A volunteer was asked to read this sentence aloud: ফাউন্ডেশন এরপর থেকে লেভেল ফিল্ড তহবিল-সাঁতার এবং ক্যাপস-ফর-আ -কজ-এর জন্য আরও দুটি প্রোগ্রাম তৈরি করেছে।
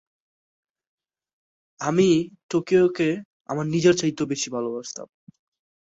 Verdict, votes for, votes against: rejected, 0, 5